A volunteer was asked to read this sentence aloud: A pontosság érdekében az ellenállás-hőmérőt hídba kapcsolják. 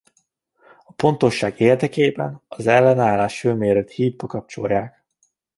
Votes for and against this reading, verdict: 2, 0, accepted